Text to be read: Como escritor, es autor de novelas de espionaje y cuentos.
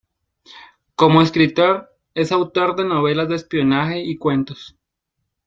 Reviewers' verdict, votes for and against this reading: accepted, 2, 1